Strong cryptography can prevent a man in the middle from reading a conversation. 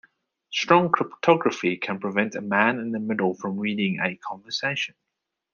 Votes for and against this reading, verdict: 2, 0, accepted